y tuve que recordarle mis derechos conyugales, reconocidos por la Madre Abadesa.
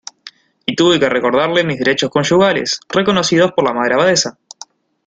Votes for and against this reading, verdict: 2, 0, accepted